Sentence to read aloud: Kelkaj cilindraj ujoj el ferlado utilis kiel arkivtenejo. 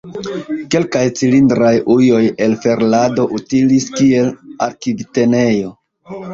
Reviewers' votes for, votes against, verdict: 0, 2, rejected